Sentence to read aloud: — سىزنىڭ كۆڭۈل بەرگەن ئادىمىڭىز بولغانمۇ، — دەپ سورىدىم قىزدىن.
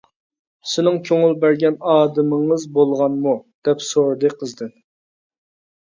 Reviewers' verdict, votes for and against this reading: rejected, 0, 2